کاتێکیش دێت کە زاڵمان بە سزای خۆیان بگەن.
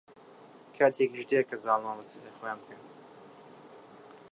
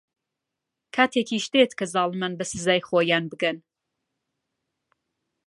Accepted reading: second